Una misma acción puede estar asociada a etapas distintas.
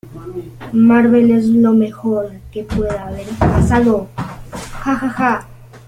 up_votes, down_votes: 0, 2